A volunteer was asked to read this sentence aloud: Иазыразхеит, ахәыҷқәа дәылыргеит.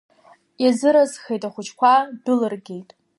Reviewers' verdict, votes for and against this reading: accepted, 2, 0